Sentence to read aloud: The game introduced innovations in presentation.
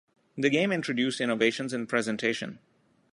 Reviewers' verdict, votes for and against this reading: accepted, 2, 0